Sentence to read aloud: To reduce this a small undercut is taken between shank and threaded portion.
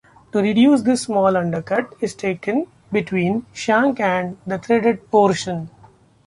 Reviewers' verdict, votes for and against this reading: rejected, 0, 2